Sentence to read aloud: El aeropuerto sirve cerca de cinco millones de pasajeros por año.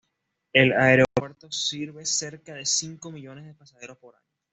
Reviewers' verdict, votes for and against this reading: rejected, 1, 2